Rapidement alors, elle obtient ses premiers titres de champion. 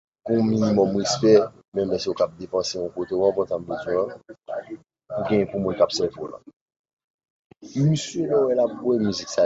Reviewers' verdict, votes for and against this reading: rejected, 1, 2